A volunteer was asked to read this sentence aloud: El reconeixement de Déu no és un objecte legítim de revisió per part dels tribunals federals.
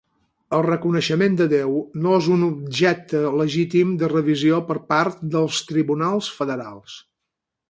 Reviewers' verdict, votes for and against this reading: accepted, 6, 0